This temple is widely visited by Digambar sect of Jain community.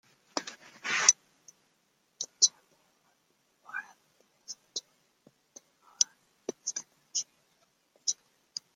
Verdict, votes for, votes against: rejected, 0, 2